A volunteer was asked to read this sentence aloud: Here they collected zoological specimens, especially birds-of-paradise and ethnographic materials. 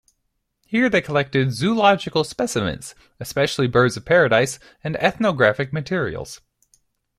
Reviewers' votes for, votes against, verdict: 3, 0, accepted